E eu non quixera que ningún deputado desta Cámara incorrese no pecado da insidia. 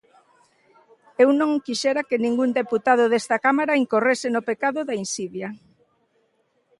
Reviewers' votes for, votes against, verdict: 1, 2, rejected